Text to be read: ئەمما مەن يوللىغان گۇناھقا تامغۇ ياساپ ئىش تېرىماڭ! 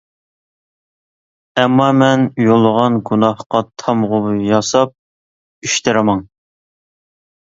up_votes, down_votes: 1, 2